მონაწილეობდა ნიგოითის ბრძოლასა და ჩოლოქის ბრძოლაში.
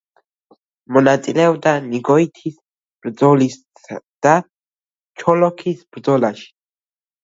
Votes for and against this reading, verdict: 1, 2, rejected